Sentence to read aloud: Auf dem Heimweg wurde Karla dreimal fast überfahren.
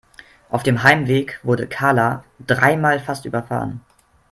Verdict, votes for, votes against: accepted, 3, 0